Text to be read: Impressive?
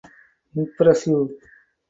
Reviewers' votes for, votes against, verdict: 0, 4, rejected